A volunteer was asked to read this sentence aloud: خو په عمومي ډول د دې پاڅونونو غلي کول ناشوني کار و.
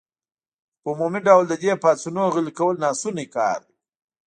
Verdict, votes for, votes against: accepted, 2, 0